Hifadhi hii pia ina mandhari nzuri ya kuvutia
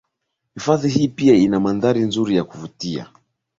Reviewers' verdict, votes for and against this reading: accepted, 2, 1